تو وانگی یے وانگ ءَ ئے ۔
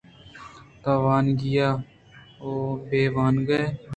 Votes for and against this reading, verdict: 2, 1, accepted